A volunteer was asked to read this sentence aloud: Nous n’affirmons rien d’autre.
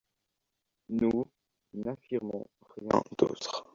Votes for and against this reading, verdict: 0, 2, rejected